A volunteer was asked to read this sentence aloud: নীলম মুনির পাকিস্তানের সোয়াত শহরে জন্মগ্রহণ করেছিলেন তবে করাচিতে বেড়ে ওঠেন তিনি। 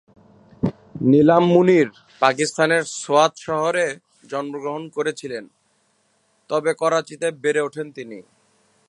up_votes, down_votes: 2, 0